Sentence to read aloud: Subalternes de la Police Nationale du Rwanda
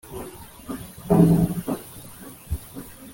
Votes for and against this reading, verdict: 1, 2, rejected